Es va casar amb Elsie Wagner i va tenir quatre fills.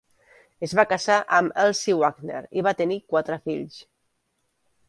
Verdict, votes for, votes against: accepted, 2, 1